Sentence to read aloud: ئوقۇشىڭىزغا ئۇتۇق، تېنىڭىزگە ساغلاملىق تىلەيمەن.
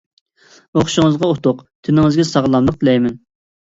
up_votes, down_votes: 2, 0